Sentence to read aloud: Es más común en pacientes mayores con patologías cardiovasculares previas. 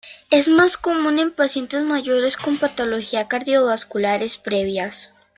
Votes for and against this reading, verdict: 1, 2, rejected